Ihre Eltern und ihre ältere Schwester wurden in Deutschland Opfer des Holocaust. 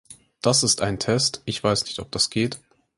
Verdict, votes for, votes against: rejected, 0, 4